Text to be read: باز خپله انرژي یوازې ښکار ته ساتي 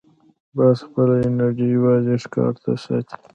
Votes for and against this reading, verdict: 0, 2, rejected